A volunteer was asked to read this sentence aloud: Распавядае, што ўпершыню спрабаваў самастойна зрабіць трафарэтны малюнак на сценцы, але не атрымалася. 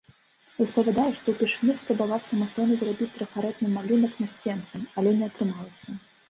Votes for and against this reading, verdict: 0, 2, rejected